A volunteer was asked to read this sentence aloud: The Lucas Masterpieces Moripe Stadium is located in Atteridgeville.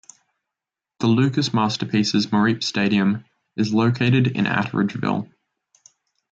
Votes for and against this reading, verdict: 1, 2, rejected